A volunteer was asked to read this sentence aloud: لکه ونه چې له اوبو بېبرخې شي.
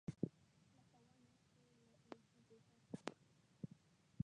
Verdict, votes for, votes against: rejected, 0, 3